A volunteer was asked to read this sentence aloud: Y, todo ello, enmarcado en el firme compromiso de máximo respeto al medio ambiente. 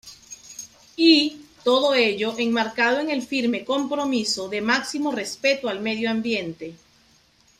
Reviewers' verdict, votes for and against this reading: accepted, 2, 0